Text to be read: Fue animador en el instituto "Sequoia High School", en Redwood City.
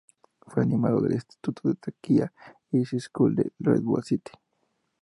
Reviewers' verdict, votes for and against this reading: rejected, 0, 2